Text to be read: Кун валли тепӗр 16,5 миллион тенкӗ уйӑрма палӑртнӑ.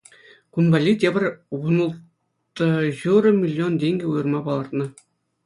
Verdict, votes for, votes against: rejected, 0, 2